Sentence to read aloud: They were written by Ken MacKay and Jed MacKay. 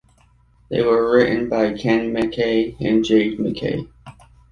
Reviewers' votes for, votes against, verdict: 0, 2, rejected